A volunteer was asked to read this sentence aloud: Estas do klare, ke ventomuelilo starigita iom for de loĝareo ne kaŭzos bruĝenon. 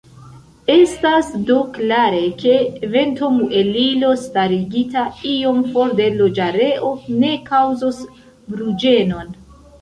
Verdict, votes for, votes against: accepted, 2, 0